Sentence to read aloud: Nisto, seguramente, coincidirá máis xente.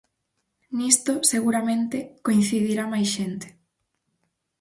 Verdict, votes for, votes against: accepted, 4, 0